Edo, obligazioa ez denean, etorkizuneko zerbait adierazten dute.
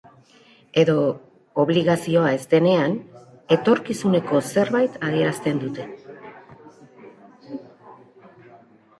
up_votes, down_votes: 1, 2